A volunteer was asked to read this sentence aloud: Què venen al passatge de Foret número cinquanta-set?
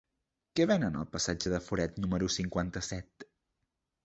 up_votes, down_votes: 3, 0